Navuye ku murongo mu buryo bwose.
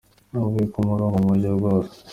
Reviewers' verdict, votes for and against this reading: accepted, 2, 1